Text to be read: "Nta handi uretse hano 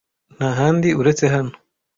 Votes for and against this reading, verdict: 2, 0, accepted